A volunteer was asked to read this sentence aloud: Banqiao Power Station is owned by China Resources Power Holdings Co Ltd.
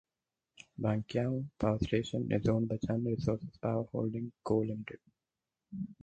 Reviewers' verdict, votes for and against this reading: rejected, 0, 4